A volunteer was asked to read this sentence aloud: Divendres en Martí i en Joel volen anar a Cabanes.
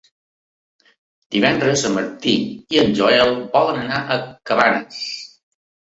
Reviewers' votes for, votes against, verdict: 2, 0, accepted